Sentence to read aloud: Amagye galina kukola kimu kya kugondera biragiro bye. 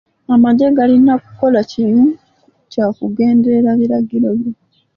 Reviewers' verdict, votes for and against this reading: rejected, 0, 2